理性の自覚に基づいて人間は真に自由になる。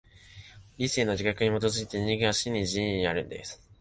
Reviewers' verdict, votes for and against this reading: rejected, 2, 3